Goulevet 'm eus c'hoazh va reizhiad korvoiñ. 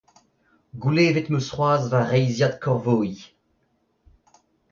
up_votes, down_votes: 2, 0